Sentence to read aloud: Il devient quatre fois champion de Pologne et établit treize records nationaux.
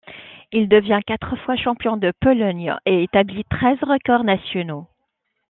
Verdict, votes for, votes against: accepted, 2, 0